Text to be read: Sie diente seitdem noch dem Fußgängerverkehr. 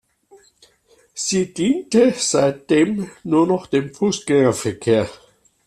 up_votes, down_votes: 0, 2